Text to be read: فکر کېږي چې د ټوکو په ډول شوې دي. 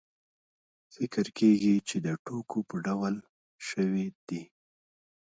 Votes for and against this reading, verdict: 1, 2, rejected